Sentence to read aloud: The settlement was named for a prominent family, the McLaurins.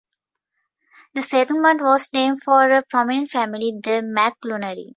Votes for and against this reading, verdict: 0, 2, rejected